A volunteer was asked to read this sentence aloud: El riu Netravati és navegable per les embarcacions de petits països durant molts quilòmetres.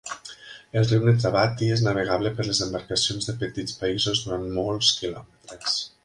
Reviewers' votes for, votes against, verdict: 1, 2, rejected